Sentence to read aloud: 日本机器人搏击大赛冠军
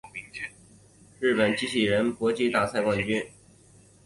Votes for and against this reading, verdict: 4, 0, accepted